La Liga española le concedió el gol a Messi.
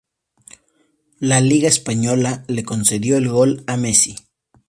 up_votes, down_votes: 2, 0